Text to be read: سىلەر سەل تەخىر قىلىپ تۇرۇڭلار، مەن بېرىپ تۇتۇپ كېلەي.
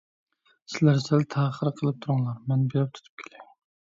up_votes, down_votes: 1, 2